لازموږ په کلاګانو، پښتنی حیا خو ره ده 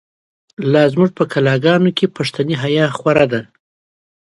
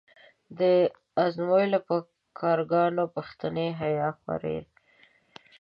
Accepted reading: first